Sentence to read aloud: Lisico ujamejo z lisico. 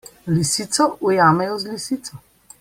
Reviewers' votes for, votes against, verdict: 2, 0, accepted